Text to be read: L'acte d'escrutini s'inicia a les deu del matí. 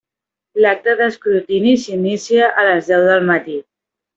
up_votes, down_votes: 1, 2